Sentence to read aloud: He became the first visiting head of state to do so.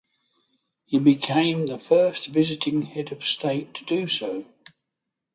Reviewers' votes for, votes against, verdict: 6, 0, accepted